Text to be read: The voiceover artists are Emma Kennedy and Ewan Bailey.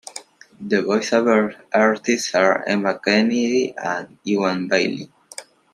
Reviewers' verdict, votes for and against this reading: accepted, 2, 0